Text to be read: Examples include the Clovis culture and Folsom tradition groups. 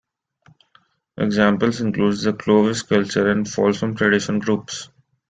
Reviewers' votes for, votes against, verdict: 1, 2, rejected